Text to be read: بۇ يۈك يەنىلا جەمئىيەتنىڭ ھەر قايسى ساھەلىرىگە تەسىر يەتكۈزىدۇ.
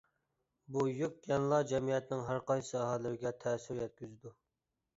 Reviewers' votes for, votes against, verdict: 2, 1, accepted